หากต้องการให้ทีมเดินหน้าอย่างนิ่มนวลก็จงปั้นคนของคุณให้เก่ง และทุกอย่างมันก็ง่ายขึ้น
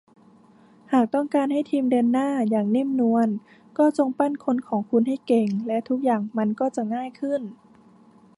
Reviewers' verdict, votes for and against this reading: rejected, 0, 2